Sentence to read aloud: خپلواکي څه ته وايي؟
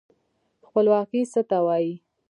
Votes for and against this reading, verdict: 2, 1, accepted